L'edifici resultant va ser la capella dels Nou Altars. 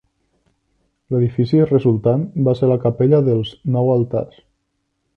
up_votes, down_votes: 0, 2